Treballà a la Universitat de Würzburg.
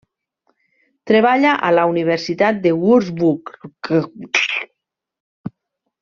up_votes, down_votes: 0, 2